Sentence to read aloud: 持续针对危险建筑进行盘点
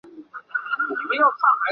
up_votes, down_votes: 0, 2